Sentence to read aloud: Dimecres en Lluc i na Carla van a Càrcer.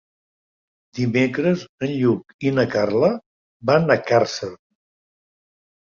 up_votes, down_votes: 2, 0